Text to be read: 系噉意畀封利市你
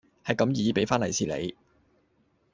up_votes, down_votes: 1, 2